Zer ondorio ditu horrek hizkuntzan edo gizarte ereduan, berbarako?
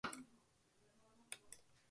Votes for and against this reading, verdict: 0, 4, rejected